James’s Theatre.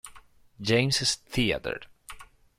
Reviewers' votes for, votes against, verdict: 1, 2, rejected